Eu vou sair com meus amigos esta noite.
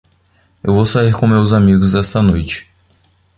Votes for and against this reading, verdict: 0, 2, rejected